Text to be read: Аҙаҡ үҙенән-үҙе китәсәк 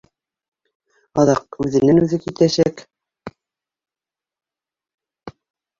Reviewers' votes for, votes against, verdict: 3, 1, accepted